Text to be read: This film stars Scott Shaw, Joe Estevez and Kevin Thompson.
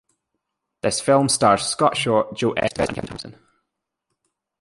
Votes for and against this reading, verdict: 0, 2, rejected